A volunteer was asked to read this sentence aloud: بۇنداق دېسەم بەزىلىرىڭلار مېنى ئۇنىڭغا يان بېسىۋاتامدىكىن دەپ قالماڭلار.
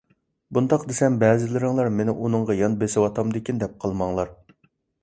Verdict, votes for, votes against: accepted, 2, 0